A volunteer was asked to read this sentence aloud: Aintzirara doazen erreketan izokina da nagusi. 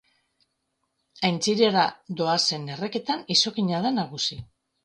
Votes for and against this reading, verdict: 1, 2, rejected